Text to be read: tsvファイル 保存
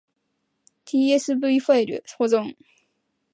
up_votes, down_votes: 4, 0